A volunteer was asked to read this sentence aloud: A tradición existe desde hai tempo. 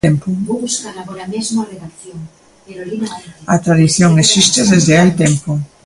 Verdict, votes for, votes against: rejected, 0, 2